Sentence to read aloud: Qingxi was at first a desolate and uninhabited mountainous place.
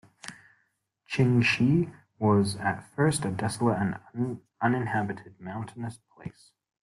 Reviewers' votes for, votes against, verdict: 0, 2, rejected